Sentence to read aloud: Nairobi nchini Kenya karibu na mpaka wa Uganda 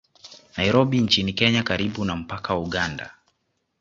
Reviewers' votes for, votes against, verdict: 2, 0, accepted